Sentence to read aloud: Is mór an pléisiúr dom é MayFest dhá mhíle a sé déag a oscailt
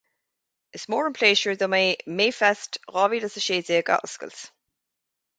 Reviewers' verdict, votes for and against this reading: accepted, 4, 0